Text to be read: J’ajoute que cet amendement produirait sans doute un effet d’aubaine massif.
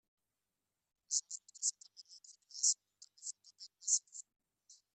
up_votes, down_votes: 0, 2